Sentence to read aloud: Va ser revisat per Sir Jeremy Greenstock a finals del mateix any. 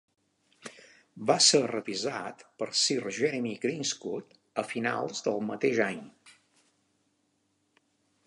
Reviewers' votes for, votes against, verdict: 2, 1, accepted